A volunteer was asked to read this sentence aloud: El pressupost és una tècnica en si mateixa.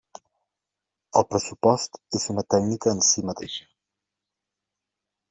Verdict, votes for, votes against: accepted, 2, 0